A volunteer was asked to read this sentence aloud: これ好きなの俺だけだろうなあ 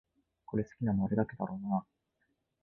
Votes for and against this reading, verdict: 1, 2, rejected